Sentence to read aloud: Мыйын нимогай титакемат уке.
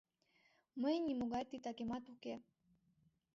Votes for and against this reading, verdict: 2, 0, accepted